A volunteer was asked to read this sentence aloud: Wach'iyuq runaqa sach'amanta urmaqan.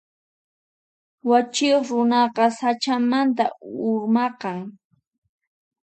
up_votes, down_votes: 0, 4